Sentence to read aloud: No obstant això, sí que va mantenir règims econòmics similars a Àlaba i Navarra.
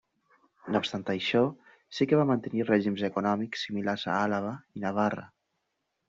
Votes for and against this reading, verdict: 2, 0, accepted